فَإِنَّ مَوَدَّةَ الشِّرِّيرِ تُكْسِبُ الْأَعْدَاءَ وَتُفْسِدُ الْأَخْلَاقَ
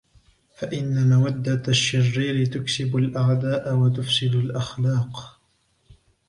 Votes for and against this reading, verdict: 0, 2, rejected